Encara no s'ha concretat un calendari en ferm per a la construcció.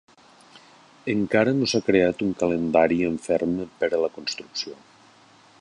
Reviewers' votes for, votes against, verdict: 0, 2, rejected